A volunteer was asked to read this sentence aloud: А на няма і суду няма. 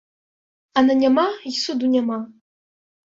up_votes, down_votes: 2, 0